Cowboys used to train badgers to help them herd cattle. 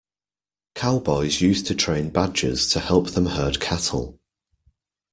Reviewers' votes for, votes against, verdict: 2, 0, accepted